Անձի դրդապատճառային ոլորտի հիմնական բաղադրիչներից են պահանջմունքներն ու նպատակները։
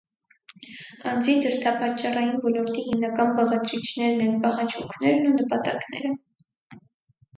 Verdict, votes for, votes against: rejected, 2, 4